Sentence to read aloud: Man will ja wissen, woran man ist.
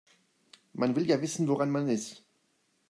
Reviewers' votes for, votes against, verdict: 2, 0, accepted